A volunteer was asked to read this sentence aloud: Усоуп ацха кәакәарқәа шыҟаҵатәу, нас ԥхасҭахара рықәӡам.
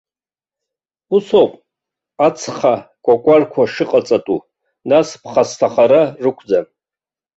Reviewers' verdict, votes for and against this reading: accepted, 2, 0